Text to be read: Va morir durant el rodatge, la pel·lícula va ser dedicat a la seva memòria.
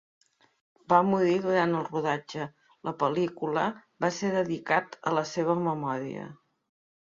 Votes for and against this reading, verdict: 2, 1, accepted